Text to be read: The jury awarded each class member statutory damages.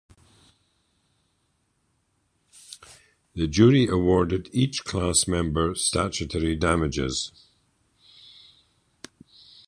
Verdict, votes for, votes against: rejected, 2, 2